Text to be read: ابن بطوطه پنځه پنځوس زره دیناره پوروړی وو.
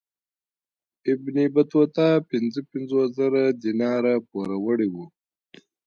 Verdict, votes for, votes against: rejected, 1, 2